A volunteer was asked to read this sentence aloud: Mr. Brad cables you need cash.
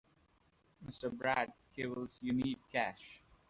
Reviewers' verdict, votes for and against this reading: rejected, 0, 2